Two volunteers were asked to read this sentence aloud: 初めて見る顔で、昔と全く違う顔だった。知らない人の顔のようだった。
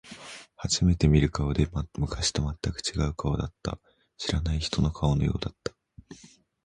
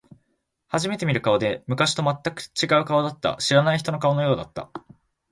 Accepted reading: first